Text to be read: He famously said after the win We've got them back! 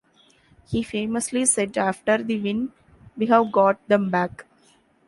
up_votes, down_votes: 1, 2